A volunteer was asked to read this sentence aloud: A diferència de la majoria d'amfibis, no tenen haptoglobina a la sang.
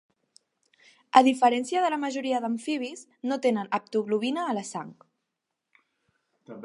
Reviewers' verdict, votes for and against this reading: accepted, 2, 0